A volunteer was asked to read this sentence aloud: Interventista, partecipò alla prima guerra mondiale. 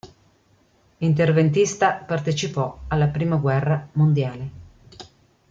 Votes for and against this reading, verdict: 2, 0, accepted